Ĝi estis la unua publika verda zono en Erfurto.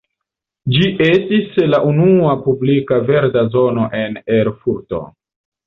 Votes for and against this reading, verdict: 2, 0, accepted